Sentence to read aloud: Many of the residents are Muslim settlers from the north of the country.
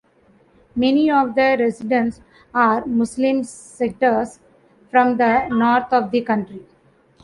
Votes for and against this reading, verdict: 1, 2, rejected